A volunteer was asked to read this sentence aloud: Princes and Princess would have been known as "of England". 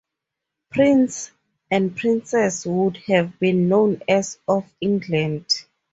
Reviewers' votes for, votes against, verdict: 0, 2, rejected